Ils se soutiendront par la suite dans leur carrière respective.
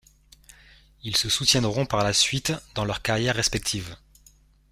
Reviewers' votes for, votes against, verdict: 2, 0, accepted